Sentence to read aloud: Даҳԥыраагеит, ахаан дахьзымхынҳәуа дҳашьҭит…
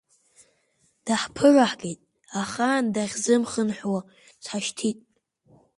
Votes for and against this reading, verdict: 2, 0, accepted